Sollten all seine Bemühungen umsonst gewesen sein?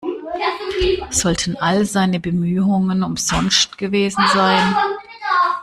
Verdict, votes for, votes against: rejected, 1, 2